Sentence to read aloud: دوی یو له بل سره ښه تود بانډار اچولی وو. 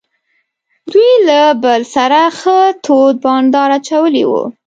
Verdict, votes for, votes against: rejected, 1, 2